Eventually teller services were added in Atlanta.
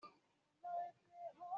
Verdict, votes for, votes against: rejected, 0, 2